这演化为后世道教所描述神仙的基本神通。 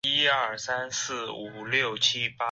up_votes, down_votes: 0, 5